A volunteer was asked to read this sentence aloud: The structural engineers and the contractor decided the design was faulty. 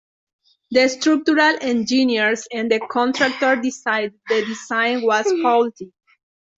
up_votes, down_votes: 2, 1